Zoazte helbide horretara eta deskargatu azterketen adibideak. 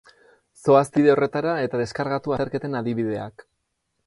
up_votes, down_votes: 0, 2